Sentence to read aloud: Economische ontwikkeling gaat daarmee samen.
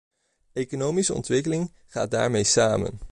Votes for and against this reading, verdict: 2, 0, accepted